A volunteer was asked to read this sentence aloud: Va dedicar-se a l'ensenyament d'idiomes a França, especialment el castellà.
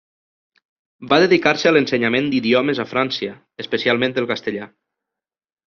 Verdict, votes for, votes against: rejected, 0, 2